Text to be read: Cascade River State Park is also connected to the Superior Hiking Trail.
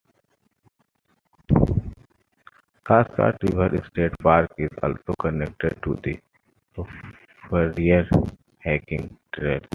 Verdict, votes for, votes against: rejected, 0, 2